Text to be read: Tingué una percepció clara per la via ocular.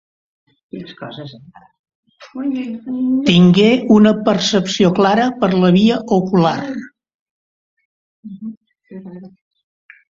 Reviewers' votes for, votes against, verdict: 1, 2, rejected